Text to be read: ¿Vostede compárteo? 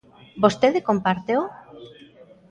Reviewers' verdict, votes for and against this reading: accepted, 2, 0